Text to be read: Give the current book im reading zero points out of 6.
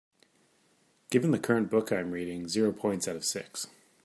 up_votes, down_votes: 0, 2